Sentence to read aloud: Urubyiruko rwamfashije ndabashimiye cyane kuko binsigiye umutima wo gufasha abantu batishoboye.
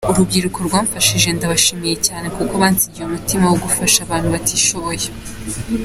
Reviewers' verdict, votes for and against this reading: rejected, 1, 2